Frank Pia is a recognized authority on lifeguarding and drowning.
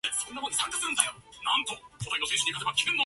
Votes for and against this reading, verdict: 0, 2, rejected